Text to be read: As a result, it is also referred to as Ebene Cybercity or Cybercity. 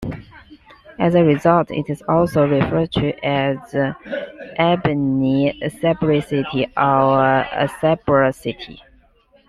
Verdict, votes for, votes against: rejected, 0, 2